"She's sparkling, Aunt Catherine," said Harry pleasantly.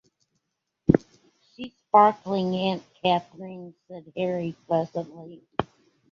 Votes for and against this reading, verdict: 2, 1, accepted